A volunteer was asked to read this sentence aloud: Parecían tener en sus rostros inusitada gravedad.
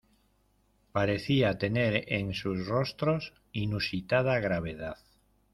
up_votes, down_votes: 1, 2